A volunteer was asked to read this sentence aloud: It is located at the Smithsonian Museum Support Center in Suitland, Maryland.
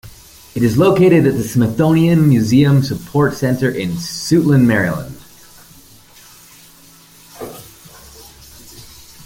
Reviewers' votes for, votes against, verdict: 2, 0, accepted